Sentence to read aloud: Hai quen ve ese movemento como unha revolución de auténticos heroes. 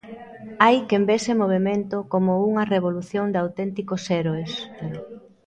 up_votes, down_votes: 0, 2